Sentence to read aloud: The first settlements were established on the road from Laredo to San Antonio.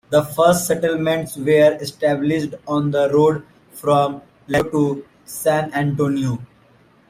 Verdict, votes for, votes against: accepted, 2, 0